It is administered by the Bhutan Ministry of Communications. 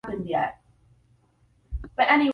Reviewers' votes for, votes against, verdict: 0, 2, rejected